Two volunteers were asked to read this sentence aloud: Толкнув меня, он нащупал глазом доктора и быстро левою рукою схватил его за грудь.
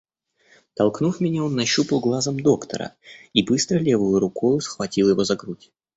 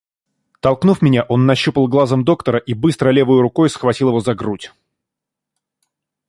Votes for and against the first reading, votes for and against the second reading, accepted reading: 2, 0, 1, 2, first